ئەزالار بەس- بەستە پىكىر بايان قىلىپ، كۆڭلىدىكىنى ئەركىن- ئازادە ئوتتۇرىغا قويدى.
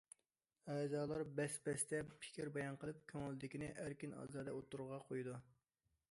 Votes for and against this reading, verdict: 0, 2, rejected